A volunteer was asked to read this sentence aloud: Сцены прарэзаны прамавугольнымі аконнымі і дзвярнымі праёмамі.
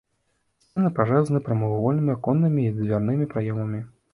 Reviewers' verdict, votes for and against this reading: rejected, 1, 2